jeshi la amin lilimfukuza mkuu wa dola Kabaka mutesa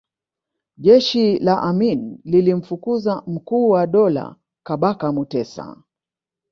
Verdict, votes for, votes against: rejected, 1, 3